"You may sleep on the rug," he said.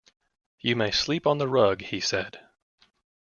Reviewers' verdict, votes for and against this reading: accepted, 2, 0